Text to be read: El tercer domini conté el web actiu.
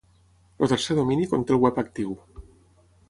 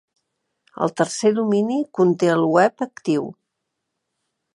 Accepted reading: second